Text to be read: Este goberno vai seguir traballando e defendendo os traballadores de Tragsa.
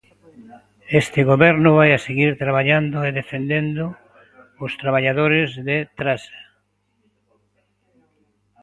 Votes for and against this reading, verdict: 0, 2, rejected